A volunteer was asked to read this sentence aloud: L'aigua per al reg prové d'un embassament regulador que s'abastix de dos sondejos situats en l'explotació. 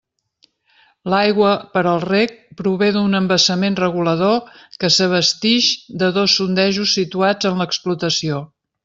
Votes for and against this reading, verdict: 2, 0, accepted